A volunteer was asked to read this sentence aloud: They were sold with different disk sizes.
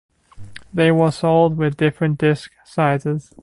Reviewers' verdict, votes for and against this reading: accepted, 2, 0